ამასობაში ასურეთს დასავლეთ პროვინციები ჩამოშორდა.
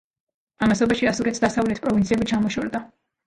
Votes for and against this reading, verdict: 1, 2, rejected